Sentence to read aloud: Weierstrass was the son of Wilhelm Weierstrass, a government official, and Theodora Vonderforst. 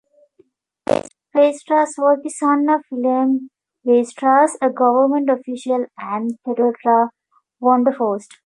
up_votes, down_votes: 2, 0